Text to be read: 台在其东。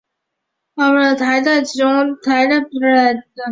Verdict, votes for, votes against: rejected, 1, 3